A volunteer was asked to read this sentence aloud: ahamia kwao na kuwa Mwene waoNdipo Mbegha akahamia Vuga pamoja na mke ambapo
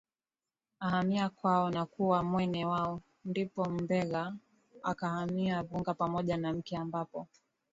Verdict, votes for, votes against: accepted, 2, 1